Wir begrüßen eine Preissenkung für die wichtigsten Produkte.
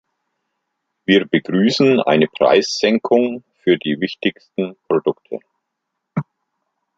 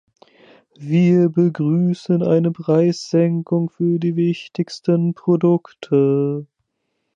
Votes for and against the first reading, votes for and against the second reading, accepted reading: 2, 0, 1, 2, first